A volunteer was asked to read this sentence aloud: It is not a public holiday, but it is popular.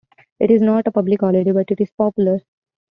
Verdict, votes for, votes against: accepted, 2, 0